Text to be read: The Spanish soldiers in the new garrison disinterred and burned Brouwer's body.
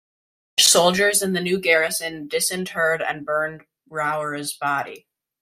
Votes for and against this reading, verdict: 0, 2, rejected